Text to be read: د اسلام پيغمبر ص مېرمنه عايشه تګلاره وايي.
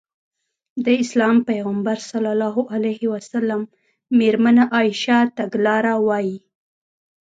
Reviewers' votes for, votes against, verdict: 2, 0, accepted